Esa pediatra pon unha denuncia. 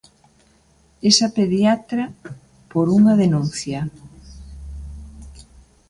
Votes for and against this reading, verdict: 0, 2, rejected